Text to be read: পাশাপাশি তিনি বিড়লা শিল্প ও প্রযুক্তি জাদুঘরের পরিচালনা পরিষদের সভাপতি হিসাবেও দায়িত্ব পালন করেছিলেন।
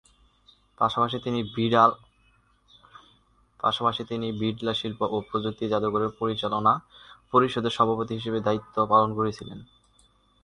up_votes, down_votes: 1, 2